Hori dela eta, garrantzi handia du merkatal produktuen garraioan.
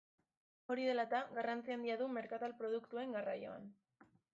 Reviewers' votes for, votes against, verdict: 2, 0, accepted